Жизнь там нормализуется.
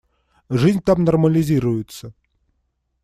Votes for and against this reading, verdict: 1, 2, rejected